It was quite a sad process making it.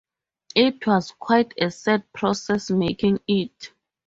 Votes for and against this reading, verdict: 2, 0, accepted